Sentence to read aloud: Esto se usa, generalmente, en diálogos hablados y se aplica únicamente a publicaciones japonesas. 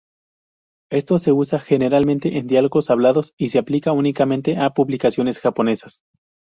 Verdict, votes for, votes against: accepted, 2, 0